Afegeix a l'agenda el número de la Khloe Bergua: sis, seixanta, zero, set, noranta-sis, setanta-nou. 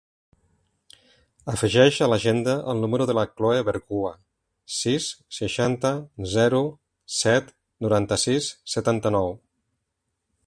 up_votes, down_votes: 1, 2